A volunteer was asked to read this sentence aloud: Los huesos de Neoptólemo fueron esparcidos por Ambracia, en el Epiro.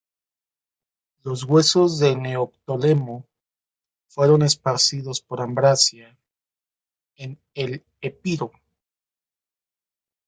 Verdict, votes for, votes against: rejected, 0, 2